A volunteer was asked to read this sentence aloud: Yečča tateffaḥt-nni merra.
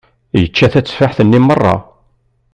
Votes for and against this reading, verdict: 2, 0, accepted